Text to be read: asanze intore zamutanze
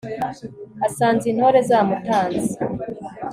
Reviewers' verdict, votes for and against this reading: accepted, 4, 0